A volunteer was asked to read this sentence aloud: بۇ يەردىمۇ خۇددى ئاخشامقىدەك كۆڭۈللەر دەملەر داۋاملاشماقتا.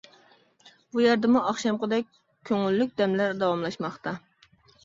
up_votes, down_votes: 0, 2